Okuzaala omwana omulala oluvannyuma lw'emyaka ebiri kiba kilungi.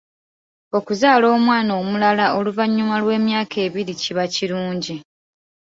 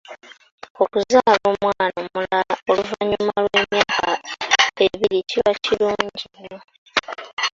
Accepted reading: first